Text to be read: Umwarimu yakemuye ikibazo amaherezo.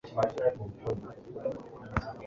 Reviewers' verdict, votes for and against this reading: rejected, 1, 2